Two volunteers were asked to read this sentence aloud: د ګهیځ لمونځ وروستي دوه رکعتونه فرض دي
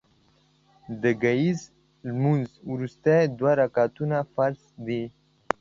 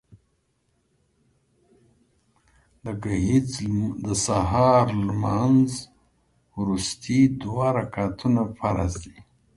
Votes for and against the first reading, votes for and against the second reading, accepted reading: 2, 0, 1, 2, first